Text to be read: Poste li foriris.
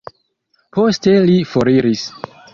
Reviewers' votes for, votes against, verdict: 2, 1, accepted